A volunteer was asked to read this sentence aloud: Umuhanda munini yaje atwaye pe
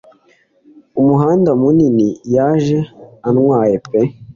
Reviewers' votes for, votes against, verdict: 3, 0, accepted